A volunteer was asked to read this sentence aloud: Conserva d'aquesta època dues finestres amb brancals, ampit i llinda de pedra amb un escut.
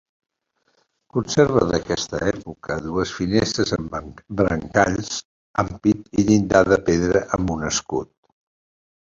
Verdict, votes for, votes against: rejected, 0, 2